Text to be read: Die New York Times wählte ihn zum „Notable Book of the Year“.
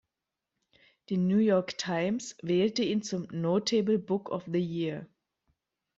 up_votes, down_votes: 1, 2